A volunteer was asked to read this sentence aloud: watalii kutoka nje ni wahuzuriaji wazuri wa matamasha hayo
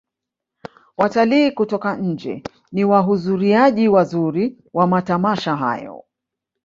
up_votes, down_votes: 1, 2